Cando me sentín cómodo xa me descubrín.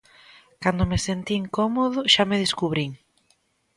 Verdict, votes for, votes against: accepted, 3, 0